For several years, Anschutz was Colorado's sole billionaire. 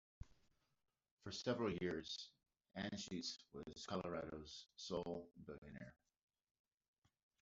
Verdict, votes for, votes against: rejected, 0, 2